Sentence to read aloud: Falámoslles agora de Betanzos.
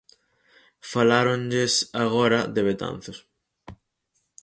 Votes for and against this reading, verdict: 0, 4, rejected